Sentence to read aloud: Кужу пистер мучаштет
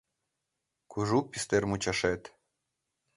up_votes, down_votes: 2, 3